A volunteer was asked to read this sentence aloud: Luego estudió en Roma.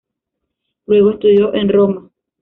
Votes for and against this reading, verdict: 1, 2, rejected